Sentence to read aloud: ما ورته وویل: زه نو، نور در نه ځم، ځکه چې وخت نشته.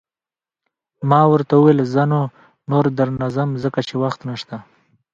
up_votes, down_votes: 3, 1